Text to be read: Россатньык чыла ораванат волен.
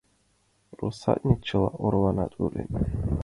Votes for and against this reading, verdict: 2, 0, accepted